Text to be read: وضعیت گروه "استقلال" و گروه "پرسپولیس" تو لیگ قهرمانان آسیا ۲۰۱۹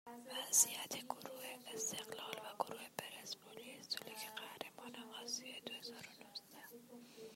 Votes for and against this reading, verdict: 0, 2, rejected